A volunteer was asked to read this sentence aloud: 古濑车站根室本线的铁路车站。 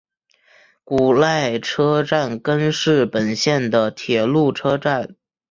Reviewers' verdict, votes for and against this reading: accepted, 3, 1